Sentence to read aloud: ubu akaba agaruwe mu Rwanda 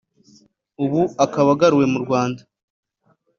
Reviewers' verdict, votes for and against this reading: accepted, 2, 0